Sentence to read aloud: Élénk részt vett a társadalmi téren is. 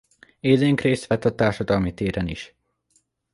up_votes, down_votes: 2, 0